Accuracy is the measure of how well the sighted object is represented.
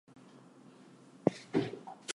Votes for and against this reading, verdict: 0, 2, rejected